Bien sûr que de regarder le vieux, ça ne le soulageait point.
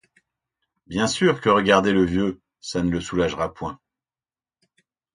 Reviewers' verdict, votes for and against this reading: rejected, 0, 2